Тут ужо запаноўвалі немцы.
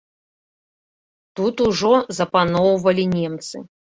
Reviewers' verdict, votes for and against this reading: accepted, 2, 0